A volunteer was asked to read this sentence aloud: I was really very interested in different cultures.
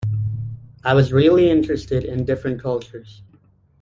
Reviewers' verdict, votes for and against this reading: rejected, 1, 2